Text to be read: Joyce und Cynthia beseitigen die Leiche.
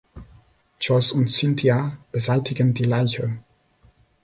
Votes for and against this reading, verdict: 2, 0, accepted